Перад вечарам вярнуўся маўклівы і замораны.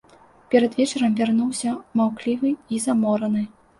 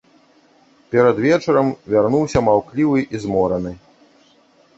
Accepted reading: first